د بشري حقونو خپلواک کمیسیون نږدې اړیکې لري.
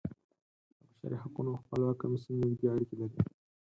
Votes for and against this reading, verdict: 0, 4, rejected